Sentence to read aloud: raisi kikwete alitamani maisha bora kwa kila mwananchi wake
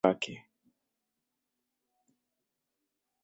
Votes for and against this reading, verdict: 0, 2, rejected